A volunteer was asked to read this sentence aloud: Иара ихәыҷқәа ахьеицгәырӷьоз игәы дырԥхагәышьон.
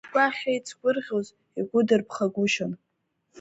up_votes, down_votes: 1, 4